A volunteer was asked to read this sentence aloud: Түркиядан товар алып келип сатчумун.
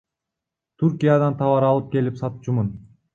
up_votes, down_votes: 1, 2